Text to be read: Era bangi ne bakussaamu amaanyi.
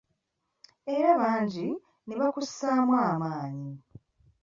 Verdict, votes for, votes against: accepted, 2, 0